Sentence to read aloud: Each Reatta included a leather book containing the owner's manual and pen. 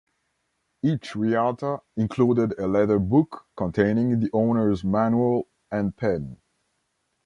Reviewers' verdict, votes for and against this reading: accepted, 2, 1